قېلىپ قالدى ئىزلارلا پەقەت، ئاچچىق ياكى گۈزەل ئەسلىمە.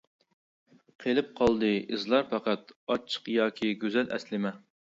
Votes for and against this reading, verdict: 2, 1, accepted